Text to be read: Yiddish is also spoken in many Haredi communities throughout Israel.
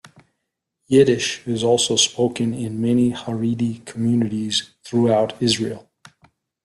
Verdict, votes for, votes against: accepted, 2, 0